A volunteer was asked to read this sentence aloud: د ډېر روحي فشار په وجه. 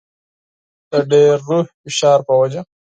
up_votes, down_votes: 4, 2